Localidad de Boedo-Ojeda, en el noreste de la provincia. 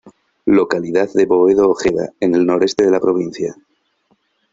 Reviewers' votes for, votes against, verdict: 2, 0, accepted